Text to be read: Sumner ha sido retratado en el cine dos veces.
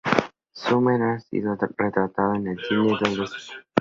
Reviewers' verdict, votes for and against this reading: rejected, 0, 2